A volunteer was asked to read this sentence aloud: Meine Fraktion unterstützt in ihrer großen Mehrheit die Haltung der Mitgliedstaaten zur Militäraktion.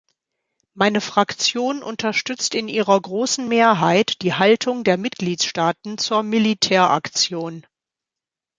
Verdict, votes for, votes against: accepted, 2, 0